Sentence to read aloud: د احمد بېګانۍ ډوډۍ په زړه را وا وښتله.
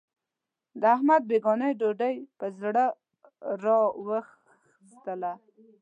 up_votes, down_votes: 1, 2